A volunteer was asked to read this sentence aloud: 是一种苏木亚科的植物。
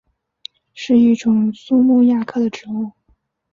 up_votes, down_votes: 4, 0